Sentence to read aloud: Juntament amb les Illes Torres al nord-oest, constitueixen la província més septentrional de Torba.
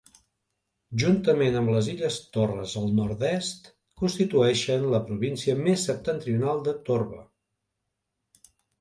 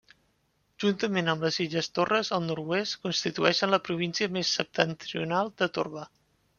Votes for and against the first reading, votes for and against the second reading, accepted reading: 0, 2, 2, 1, second